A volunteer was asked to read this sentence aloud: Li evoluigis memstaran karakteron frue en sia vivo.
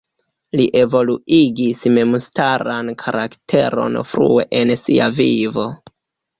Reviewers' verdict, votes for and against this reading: accepted, 2, 0